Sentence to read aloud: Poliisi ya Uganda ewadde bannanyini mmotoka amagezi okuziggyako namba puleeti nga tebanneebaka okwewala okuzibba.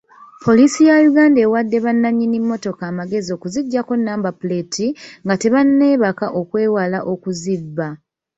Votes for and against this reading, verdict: 2, 1, accepted